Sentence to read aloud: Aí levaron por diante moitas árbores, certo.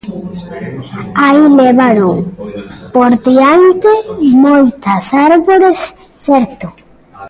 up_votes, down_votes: 0, 2